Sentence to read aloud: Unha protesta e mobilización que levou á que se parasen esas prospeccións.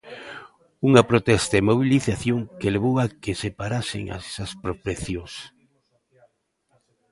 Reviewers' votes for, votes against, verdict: 0, 2, rejected